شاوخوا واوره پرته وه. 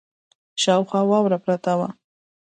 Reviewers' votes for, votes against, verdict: 2, 0, accepted